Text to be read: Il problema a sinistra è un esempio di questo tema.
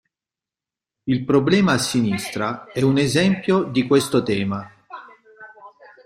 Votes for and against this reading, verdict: 1, 2, rejected